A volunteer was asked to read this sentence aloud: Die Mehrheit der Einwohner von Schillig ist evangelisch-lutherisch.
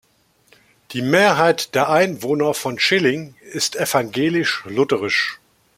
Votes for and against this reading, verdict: 1, 2, rejected